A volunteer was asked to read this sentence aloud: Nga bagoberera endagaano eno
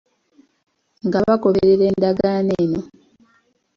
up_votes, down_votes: 1, 2